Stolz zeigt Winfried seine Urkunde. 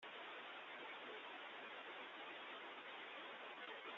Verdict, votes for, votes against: rejected, 0, 2